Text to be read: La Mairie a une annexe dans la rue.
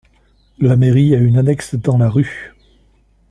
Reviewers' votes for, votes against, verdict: 2, 0, accepted